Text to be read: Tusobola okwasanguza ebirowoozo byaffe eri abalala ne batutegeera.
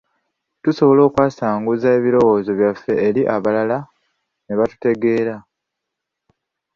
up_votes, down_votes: 2, 0